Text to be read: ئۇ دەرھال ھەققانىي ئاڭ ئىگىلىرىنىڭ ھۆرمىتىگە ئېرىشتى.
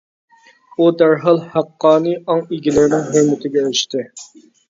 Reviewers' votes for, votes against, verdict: 0, 2, rejected